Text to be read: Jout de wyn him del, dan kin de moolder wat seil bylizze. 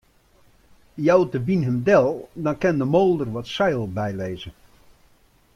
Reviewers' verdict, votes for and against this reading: rejected, 1, 2